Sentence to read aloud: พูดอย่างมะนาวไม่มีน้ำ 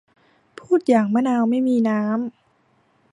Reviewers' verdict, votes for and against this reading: accepted, 2, 0